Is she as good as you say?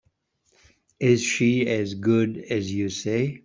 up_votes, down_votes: 2, 0